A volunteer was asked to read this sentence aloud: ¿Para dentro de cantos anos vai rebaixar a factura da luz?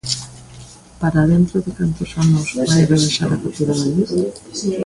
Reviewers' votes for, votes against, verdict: 2, 1, accepted